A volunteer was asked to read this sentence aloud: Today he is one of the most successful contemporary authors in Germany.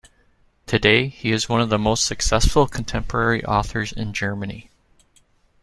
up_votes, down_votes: 2, 0